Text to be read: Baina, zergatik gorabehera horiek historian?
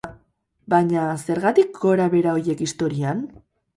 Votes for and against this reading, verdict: 2, 2, rejected